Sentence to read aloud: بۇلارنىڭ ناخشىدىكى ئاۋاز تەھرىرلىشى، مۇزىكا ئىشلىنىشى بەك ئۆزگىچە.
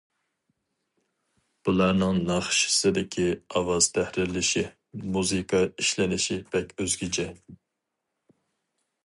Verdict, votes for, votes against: rejected, 0, 4